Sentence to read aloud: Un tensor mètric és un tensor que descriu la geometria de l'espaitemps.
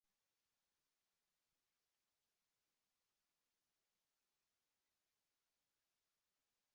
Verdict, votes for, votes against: rejected, 0, 2